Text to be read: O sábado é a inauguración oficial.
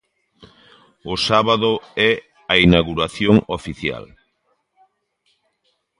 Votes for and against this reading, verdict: 2, 0, accepted